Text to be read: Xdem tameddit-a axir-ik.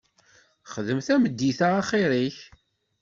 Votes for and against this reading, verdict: 2, 0, accepted